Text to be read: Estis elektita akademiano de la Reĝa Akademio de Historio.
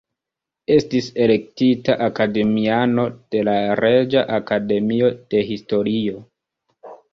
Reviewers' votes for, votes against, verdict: 2, 0, accepted